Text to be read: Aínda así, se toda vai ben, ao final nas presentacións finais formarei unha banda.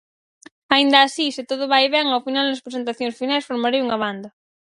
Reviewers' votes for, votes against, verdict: 0, 4, rejected